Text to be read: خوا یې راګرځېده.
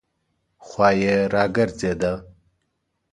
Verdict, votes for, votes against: accepted, 3, 1